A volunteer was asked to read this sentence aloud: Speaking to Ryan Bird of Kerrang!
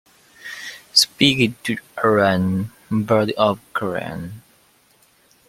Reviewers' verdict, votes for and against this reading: accepted, 2, 1